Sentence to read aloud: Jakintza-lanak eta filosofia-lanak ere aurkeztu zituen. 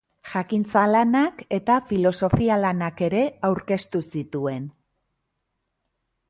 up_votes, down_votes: 2, 0